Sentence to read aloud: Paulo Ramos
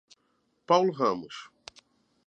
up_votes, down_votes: 2, 0